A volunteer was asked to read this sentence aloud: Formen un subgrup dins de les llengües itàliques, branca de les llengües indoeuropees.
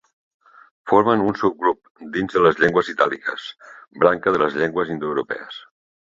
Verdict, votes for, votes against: accepted, 2, 0